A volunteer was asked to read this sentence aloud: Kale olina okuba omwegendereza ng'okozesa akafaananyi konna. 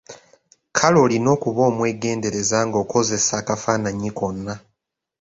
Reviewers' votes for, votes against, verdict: 2, 0, accepted